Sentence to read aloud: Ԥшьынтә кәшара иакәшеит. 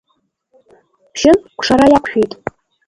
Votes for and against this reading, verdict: 0, 2, rejected